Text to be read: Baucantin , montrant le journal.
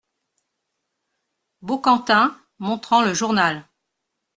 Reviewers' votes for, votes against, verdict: 2, 0, accepted